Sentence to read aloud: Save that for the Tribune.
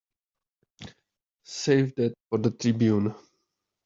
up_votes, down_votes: 3, 0